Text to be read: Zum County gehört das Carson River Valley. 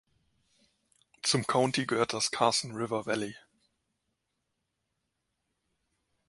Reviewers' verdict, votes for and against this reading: accepted, 2, 0